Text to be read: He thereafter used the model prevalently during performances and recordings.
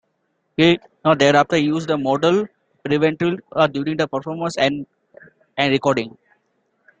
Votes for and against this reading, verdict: 1, 2, rejected